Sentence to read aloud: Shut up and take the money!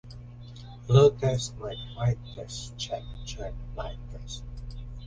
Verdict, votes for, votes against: rejected, 0, 2